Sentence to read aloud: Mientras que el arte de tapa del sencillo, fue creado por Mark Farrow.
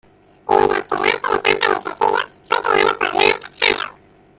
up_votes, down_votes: 0, 2